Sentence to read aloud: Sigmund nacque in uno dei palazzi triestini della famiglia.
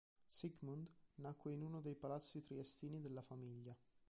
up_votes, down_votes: 1, 2